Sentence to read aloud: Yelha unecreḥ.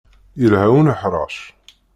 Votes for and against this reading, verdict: 1, 2, rejected